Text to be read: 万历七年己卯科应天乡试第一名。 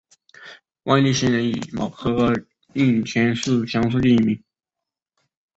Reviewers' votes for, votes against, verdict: 4, 1, accepted